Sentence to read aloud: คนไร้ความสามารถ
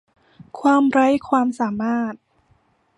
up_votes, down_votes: 0, 2